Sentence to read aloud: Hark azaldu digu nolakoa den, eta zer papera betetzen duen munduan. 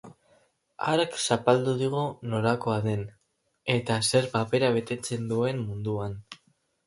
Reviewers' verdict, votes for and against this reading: rejected, 0, 4